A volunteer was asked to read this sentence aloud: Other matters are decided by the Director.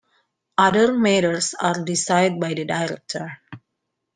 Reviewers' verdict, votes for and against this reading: rejected, 1, 2